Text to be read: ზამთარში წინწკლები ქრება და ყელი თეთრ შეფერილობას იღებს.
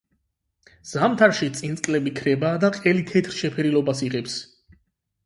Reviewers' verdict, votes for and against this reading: accepted, 8, 0